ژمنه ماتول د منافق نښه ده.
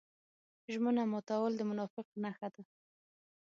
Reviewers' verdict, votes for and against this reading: accepted, 6, 0